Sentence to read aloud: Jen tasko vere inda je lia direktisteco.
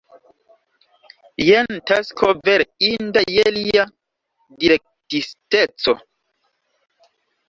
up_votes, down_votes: 2, 1